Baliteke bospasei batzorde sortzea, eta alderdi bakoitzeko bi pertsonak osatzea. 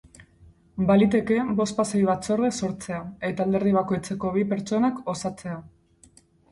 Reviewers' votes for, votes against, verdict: 4, 0, accepted